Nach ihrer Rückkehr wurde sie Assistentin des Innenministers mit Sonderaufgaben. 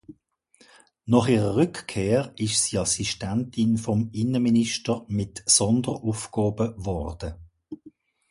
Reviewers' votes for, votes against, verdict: 0, 2, rejected